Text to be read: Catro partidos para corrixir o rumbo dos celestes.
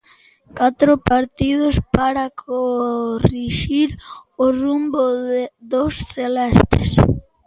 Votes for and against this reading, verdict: 0, 2, rejected